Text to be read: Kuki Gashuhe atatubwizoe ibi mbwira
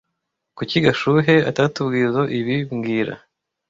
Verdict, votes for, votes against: rejected, 0, 2